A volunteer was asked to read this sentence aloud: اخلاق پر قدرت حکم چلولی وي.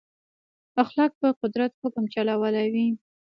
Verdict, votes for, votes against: rejected, 1, 2